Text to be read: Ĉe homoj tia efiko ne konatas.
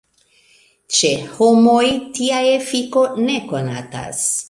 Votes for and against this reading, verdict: 1, 2, rejected